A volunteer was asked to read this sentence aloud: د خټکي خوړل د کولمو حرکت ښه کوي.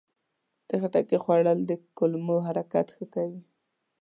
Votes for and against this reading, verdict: 2, 0, accepted